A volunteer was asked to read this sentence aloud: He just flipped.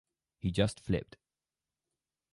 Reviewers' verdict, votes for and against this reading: rejected, 2, 2